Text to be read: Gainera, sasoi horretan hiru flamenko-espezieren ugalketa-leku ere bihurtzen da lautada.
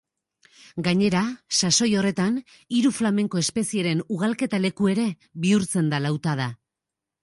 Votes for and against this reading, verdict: 3, 0, accepted